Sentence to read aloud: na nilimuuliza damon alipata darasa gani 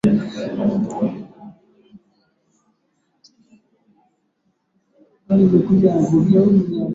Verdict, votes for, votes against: rejected, 0, 2